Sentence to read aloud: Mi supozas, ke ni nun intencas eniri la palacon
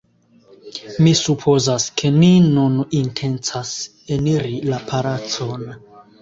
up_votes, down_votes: 0, 2